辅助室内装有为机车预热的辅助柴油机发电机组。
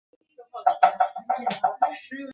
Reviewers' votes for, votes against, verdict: 2, 0, accepted